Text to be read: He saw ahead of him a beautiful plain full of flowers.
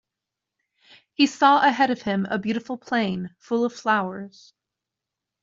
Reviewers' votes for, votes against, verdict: 2, 0, accepted